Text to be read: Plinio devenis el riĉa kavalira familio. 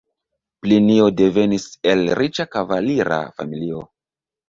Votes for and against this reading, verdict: 2, 0, accepted